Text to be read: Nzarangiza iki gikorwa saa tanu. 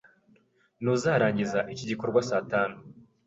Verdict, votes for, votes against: rejected, 0, 3